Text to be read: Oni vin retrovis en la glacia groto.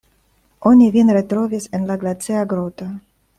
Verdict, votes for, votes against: accepted, 2, 0